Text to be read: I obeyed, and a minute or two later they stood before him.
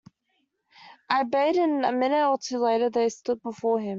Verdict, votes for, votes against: rejected, 0, 2